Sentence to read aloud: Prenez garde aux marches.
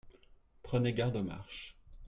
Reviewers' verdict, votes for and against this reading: accepted, 2, 0